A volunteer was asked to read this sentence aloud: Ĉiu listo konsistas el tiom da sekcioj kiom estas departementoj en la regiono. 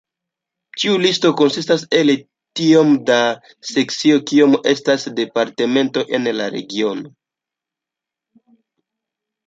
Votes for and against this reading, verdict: 2, 0, accepted